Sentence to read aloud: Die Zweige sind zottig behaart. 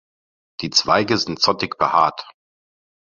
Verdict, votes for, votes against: accepted, 2, 0